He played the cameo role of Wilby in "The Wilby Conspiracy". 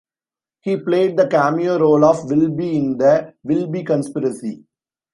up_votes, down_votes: 2, 0